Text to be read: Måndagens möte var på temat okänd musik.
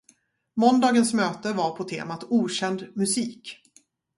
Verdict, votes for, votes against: accepted, 2, 0